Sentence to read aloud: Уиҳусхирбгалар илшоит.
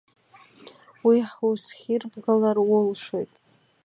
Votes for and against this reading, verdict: 0, 2, rejected